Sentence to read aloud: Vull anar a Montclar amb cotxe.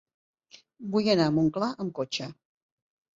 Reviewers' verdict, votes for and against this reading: accepted, 4, 0